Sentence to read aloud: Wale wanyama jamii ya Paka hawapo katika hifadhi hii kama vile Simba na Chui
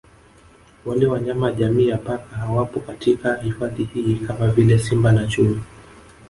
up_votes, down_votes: 2, 0